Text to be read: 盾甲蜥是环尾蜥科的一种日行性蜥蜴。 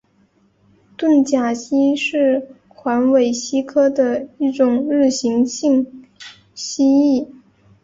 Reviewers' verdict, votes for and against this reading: accepted, 2, 0